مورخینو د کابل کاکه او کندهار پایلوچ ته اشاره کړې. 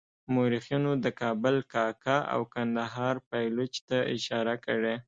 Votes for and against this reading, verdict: 2, 0, accepted